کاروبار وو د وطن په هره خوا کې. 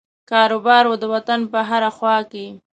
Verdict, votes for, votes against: accepted, 2, 0